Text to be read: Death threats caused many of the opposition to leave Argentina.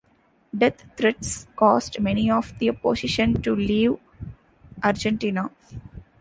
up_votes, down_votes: 2, 0